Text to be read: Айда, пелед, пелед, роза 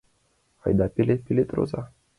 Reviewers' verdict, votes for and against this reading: accepted, 2, 0